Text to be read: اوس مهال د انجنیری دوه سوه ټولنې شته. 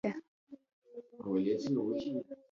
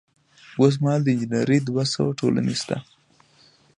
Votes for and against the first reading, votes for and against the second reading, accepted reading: 0, 2, 2, 0, second